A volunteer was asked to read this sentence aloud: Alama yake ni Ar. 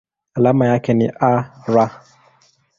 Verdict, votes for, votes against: accepted, 2, 0